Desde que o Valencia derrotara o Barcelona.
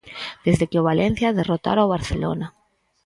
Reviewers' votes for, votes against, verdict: 4, 0, accepted